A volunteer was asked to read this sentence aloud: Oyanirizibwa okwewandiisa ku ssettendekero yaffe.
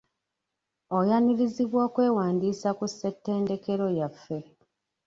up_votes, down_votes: 0, 2